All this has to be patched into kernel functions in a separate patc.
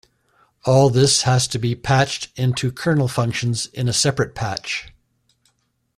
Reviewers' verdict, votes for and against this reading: rejected, 0, 2